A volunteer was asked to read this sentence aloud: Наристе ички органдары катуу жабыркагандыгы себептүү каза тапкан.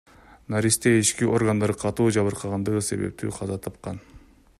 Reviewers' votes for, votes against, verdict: 2, 0, accepted